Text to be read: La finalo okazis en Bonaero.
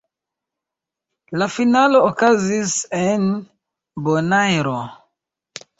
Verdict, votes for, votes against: rejected, 1, 2